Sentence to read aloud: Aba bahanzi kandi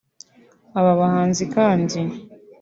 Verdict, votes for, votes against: accepted, 2, 0